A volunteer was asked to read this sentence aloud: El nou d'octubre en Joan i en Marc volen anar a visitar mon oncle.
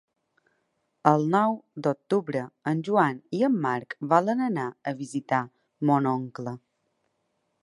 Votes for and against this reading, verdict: 4, 0, accepted